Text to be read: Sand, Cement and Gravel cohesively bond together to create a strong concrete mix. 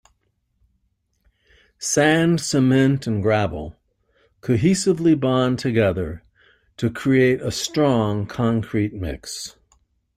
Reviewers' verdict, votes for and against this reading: accepted, 2, 0